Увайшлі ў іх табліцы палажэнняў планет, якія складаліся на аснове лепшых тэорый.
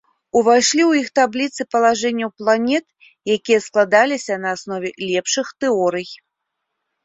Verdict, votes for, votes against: accepted, 2, 0